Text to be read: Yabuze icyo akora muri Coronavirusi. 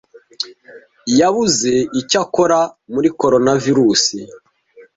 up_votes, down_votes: 2, 0